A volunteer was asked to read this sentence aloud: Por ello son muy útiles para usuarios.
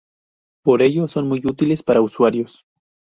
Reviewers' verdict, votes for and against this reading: accepted, 2, 0